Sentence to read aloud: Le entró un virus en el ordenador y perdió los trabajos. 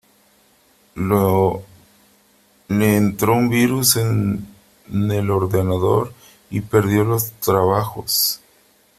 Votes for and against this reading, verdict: 0, 3, rejected